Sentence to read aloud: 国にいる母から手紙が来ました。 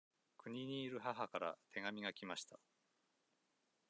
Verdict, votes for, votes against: accepted, 2, 0